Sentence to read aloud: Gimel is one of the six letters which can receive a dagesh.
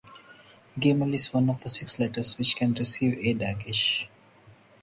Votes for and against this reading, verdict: 4, 2, accepted